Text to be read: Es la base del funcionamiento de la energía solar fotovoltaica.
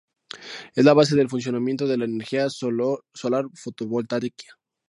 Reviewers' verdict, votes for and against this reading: rejected, 0, 2